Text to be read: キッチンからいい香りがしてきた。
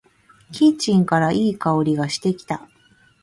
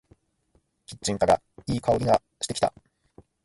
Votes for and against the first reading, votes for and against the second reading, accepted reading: 1, 2, 2, 0, second